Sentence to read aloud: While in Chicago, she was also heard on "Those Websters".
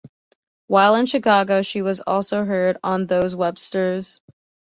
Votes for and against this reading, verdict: 2, 0, accepted